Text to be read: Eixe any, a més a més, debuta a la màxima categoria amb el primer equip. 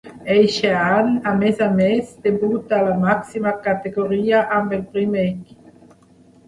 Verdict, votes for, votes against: rejected, 0, 3